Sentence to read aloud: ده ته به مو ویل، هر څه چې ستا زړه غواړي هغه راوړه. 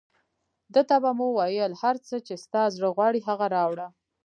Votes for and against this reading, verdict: 1, 2, rejected